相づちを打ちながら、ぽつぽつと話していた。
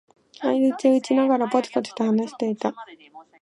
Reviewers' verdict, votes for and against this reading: rejected, 1, 3